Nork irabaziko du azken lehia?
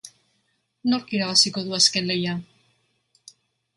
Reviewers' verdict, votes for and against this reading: accepted, 3, 0